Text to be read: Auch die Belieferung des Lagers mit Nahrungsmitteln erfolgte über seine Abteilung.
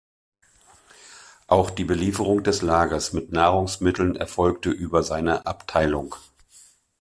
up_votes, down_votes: 2, 0